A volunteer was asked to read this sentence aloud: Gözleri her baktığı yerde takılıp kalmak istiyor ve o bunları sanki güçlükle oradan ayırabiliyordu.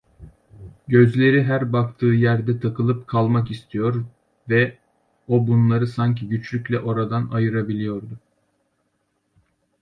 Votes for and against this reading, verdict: 2, 0, accepted